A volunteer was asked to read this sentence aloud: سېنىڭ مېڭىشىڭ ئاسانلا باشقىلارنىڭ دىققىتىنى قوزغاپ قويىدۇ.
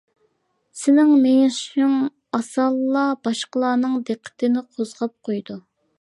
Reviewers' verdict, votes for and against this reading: accepted, 2, 1